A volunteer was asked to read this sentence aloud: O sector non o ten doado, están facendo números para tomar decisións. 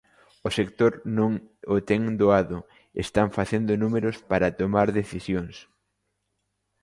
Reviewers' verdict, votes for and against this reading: accepted, 2, 0